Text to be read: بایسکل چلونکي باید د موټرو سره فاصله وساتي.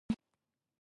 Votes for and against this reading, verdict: 0, 2, rejected